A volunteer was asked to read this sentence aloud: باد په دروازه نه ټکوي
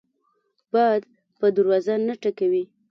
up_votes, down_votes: 2, 0